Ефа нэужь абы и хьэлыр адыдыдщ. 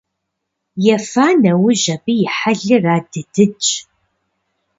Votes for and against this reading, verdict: 2, 0, accepted